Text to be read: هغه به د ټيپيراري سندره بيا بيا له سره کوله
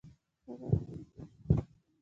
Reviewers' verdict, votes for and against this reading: rejected, 1, 2